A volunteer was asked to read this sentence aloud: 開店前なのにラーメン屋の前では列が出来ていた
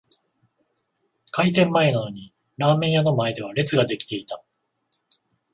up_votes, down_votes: 14, 0